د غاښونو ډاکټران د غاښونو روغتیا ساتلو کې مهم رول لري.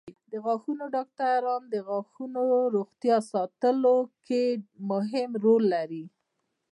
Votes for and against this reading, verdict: 2, 0, accepted